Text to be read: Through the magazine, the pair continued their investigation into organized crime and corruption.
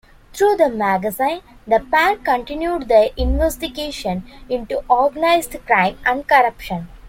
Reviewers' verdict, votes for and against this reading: accepted, 2, 1